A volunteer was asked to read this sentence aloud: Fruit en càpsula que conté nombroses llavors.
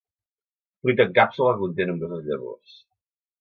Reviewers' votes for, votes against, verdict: 1, 2, rejected